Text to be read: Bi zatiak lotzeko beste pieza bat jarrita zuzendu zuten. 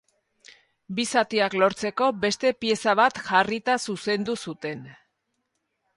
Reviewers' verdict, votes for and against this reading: rejected, 0, 2